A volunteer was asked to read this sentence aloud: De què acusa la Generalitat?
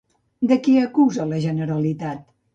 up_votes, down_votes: 1, 2